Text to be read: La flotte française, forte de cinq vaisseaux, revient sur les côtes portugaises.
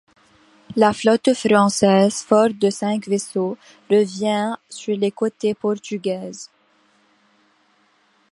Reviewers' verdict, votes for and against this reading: rejected, 0, 2